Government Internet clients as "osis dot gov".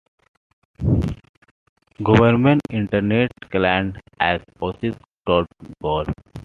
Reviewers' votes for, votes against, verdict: 2, 0, accepted